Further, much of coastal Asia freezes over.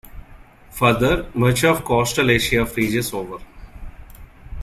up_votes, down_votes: 3, 0